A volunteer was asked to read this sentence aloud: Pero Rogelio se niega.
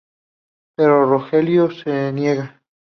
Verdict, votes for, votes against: accepted, 2, 0